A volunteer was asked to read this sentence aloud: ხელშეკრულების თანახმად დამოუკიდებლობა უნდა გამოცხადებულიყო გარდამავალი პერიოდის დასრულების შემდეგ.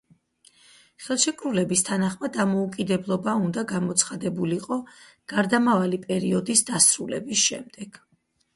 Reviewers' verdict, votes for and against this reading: accepted, 4, 0